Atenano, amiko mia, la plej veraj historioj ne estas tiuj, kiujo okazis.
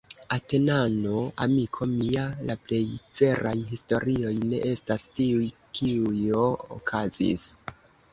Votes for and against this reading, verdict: 2, 0, accepted